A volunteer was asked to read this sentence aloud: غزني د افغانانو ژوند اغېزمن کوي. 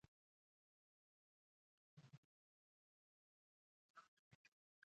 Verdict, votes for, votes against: rejected, 1, 2